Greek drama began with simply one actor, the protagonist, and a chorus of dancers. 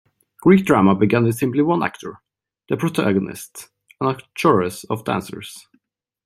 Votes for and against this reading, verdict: 1, 2, rejected